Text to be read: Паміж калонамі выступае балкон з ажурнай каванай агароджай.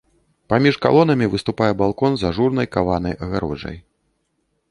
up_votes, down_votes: 2, 0